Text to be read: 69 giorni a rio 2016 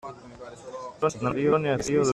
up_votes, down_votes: 0, 2